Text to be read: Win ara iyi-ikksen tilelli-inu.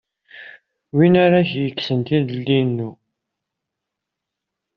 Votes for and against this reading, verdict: 2, 1, accepted